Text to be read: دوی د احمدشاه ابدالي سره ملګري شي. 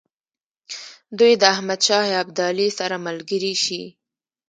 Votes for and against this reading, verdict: 1, 2, rejected